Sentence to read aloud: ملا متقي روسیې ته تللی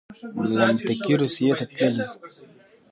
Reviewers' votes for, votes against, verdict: 1, 2, rejected